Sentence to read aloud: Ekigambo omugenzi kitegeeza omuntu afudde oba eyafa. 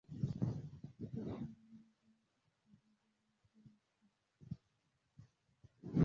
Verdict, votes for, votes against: rejected, 0, 2